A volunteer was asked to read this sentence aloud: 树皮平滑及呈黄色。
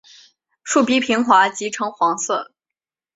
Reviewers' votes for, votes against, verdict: 2, 0, accepted